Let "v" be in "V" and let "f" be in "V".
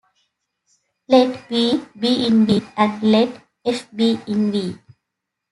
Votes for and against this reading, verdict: 2, 1, accepted